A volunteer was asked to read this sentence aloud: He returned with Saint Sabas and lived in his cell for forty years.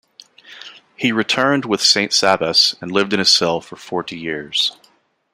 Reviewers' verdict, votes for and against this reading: accepted, 2, 0